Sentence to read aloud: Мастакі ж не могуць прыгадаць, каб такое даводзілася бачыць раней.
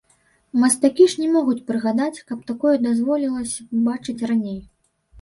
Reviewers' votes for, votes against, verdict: 1, 2, rejected